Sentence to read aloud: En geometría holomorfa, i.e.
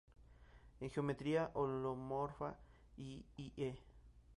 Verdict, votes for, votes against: rejected, 0, 4